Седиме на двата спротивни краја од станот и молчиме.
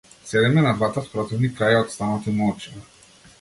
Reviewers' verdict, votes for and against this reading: accepted, 2, 0